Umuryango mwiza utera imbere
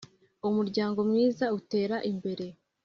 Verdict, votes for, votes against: accepted, 2, 0